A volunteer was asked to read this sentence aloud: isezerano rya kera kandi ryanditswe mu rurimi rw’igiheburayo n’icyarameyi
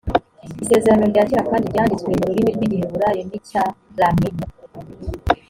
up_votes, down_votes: 1, 2